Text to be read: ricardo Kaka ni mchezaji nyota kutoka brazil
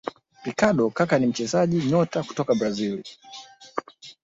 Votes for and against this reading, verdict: 0, 2, rejected